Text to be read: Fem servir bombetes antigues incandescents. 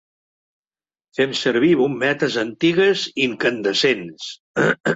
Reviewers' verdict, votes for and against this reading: rejected, 1, 2